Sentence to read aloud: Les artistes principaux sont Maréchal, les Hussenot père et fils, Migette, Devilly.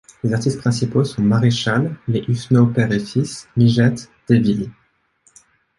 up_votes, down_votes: 2, 0